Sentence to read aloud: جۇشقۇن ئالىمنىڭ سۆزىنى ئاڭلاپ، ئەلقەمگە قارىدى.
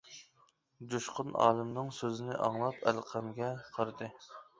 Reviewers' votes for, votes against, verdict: 1, 2, rejected